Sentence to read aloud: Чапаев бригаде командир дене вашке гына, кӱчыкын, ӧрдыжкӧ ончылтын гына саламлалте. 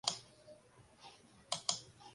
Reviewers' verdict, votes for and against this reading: rejected, 0, 2